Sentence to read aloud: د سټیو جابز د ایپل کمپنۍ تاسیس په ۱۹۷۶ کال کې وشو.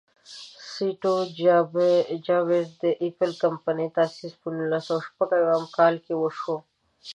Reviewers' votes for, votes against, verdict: 0, 2, rejected